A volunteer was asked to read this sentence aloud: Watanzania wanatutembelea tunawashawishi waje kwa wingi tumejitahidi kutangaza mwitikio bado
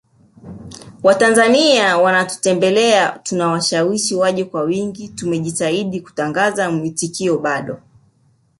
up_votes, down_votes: 4, 0